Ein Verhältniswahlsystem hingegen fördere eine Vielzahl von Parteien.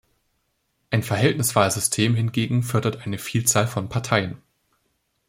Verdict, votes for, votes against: rejected, 0, 2